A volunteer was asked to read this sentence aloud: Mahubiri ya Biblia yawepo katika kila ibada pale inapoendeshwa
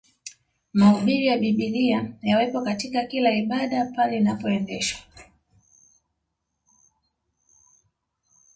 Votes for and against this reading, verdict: 2, 1, accepted